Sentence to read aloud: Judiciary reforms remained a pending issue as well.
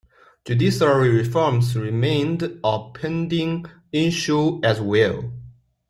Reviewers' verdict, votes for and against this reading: accepted, 2, 0